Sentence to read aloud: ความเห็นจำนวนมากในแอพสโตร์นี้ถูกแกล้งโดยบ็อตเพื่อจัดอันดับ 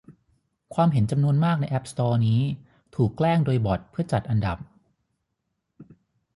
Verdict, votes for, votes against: rejected, 3, 3